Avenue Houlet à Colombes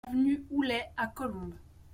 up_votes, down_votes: 1, 2